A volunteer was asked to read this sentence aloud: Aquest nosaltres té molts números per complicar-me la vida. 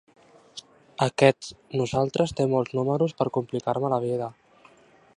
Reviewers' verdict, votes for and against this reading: accepted, 2, 0